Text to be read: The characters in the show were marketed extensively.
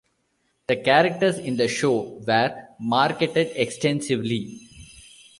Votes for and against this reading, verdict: 1, 2, rejected